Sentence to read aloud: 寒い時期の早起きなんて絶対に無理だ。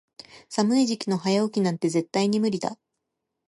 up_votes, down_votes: 1, 2